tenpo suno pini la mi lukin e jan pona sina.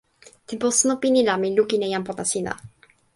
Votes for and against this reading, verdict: 0, 2, rejected